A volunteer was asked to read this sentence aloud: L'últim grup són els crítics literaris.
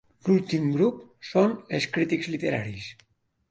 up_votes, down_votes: 2, 1